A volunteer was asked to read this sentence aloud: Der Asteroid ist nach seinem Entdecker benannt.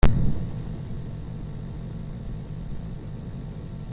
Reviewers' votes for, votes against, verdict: 0, 3, rejected